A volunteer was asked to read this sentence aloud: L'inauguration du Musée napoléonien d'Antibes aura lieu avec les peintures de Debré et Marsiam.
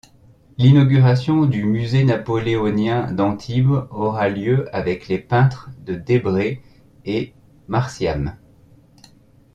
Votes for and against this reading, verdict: 0, 2, rejected